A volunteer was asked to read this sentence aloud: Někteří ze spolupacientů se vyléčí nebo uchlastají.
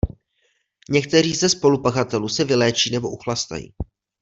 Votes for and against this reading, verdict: 0, 2, rejected